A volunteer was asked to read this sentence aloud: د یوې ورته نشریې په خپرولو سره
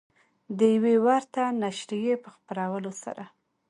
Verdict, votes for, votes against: accepted, 2, 0